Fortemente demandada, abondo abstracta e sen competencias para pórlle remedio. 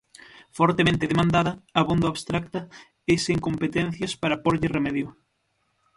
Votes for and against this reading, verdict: 6, 0, accepted